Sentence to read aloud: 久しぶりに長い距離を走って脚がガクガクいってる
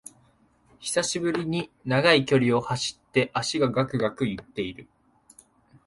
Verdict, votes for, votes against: accepted, 2, 1